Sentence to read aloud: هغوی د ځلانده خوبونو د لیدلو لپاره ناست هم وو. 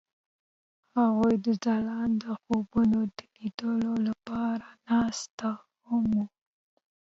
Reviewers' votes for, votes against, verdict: 2, 1, accepted